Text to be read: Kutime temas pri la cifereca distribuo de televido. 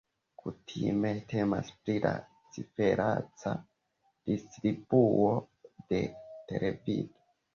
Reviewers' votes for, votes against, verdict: 2, 1, accepted